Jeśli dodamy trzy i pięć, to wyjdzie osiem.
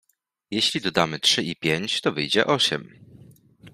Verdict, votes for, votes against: accepted, 2, 0